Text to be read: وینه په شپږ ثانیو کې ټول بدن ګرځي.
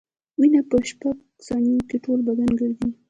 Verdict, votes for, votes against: rejected, 1, 2